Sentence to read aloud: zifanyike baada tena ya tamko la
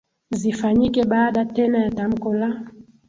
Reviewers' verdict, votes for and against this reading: accepted, 3, 0